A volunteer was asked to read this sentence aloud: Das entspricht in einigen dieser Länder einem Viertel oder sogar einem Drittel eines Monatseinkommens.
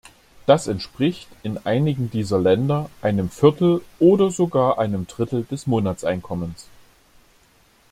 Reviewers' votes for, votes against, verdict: 1, 2, rejected